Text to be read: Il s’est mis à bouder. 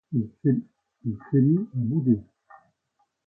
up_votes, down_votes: 0, 2